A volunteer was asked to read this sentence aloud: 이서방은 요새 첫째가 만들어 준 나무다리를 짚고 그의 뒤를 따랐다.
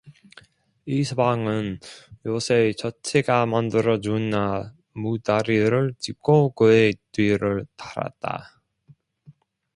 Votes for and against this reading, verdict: 1, 2, rejected